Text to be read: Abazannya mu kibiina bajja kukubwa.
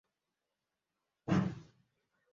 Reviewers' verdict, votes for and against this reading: rejected, 0, 2